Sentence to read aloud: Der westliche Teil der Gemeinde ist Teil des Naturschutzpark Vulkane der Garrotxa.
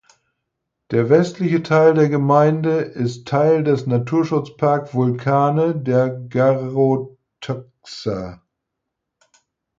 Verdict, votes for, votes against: rejected, 2, 4